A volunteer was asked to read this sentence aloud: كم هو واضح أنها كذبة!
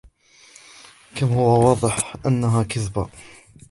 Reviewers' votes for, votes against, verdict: 2, 0, accepted